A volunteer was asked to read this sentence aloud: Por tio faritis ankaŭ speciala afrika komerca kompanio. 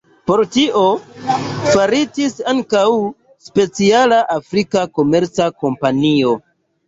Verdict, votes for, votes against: accepted, 2, 0